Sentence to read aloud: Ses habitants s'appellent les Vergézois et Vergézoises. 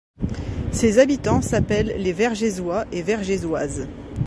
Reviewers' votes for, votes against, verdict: 2, 0, accepted